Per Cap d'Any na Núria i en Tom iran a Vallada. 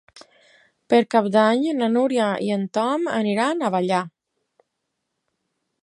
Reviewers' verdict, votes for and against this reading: rejected, 0, 6